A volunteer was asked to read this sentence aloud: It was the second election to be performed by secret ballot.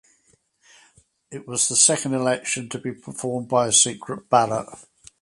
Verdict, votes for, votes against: accepted, 2, 0